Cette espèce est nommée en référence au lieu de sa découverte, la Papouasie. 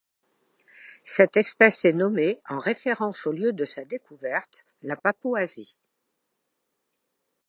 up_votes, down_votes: 2, 0